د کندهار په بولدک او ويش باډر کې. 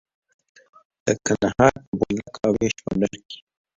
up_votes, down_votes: 1, 2